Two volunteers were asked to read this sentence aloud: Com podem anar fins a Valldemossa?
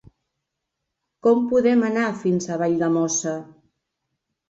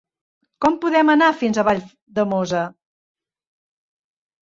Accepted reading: first